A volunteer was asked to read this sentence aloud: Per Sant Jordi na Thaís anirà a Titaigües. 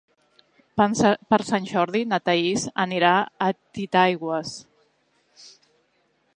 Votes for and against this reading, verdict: 0, 2, rejected